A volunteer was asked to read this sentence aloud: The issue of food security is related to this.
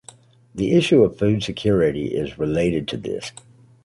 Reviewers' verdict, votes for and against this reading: accepted, 2, 0